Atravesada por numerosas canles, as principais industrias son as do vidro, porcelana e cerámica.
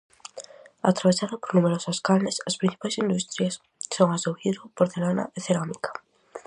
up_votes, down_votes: 4, 0